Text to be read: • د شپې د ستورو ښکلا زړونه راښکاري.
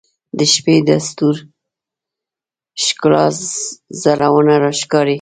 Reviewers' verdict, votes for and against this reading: rejected, 0, 2